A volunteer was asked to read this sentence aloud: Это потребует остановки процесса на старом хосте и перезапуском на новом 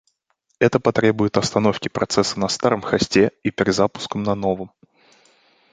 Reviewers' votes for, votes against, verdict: 2, 0, accepted